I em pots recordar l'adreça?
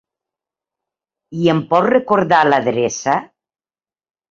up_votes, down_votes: 2, 0